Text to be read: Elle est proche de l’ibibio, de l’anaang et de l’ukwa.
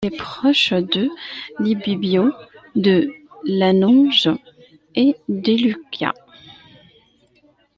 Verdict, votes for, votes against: rejected, 0, 2